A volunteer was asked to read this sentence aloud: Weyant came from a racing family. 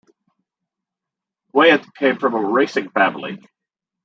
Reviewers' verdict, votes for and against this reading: accepted, 2, 0